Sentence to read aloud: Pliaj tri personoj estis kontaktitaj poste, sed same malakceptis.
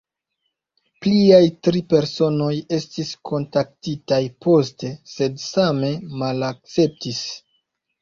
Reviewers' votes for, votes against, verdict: 2, 0, accepted